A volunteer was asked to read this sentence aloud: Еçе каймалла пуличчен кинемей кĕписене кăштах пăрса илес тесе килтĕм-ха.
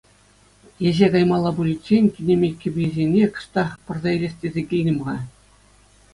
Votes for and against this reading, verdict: 2, 0, accepted